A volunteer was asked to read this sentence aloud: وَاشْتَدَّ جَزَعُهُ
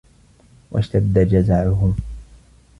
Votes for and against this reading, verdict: 2, 0, accepted